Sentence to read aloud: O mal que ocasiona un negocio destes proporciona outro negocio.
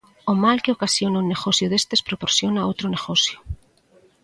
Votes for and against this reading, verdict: 2, 0, accepted